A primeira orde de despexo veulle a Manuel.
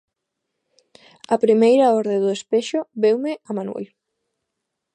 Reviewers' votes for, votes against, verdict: 1, 2, rejected